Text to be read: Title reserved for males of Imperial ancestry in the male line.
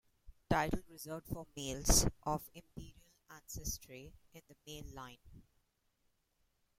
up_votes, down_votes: 1, 2